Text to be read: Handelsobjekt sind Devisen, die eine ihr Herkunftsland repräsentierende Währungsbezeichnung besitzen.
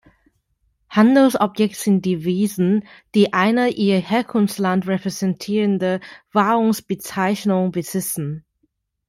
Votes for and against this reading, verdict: 0, 2, rejected